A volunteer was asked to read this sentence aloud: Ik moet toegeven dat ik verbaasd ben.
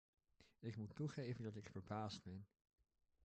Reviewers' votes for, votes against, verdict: 1, 2, rejected